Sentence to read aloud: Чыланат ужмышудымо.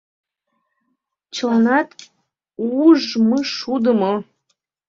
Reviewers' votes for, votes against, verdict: 0, 2, rejected